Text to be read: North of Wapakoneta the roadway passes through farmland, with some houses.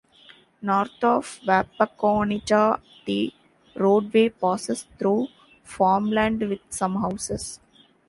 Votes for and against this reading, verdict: 1, 2, rejected